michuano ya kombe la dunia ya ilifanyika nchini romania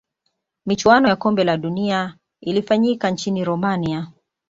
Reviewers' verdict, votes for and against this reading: rejected, 1, 2